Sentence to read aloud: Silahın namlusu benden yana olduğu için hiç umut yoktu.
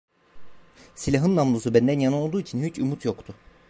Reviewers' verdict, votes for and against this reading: accepted, 2, 1